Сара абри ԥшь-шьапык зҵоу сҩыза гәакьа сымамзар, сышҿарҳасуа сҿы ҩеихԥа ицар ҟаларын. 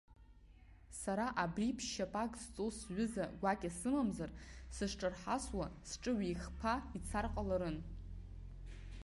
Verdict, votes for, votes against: rejected, 1, 3